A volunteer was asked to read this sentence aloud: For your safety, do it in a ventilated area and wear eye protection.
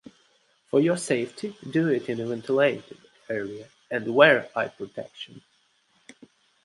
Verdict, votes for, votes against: accepted, 2, 0